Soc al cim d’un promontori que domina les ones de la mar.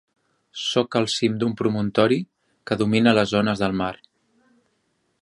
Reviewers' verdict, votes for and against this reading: accepted, 2, 1